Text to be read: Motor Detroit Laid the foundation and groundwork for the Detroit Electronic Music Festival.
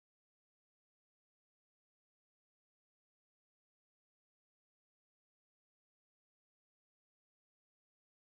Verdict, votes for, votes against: rejected, 0, 6